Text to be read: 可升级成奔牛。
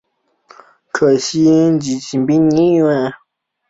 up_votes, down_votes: 2, 1